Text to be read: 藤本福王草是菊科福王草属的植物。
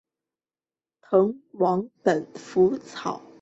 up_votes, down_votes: 1, 3